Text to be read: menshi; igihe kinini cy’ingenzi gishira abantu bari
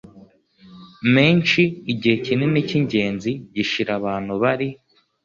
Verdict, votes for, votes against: accepted, 2, 0